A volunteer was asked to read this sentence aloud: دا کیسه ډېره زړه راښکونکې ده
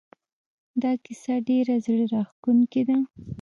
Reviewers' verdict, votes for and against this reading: rejected, 0, 2